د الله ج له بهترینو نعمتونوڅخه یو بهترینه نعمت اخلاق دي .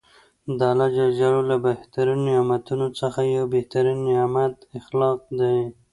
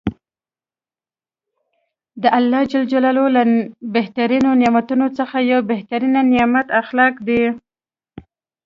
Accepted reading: first